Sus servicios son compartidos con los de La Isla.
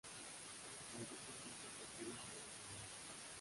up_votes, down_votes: 0, 2